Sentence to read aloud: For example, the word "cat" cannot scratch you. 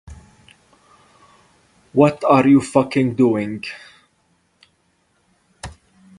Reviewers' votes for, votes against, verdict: 0, 4, rejected